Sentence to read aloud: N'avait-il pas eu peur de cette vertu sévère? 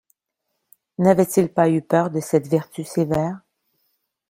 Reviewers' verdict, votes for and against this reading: accepted, 2, 0